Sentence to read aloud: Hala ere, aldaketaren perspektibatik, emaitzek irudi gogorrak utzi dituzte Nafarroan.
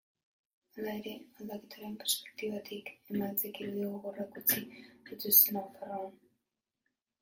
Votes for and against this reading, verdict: 0, 2, rejected